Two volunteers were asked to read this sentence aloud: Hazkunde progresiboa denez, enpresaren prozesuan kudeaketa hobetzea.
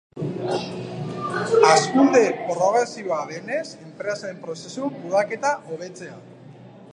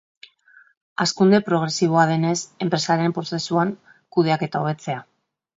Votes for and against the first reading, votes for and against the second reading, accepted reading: 0, 2, 2, 0, second